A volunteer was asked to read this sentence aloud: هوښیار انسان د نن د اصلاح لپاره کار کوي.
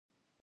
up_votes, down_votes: 0, 2